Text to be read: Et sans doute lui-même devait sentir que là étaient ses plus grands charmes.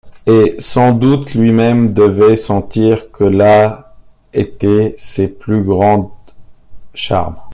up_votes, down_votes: 2, 0